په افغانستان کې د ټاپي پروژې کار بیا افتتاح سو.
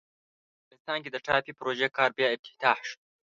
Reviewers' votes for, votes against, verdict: 1, 2, rejected